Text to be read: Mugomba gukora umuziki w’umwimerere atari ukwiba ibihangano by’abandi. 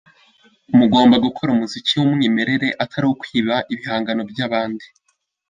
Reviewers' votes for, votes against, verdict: 2, 0, accepted